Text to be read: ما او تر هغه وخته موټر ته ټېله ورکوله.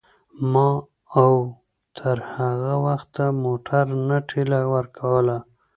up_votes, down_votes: 1, 2